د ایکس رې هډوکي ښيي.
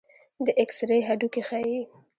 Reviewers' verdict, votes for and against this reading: rejected, 1, 2